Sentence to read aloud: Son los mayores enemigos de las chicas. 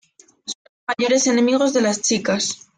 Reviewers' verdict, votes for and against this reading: rejected, 1, 2